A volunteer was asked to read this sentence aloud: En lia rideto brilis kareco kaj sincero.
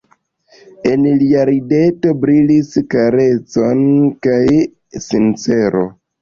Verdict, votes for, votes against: rejected, 1, 2